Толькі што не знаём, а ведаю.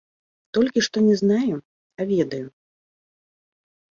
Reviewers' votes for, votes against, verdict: 1, 2, rejected